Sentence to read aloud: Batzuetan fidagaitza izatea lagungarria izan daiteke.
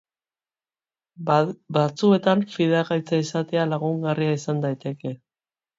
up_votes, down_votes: 0, 3